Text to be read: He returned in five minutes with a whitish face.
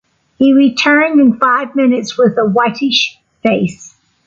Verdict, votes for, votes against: rejected, 1, 2